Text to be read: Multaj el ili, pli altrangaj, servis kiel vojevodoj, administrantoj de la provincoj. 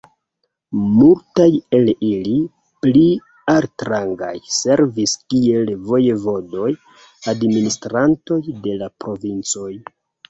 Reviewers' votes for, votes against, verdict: 1, 2, rejected